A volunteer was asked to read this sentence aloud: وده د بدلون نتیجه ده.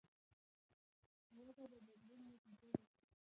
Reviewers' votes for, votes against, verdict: 1, 2, rejected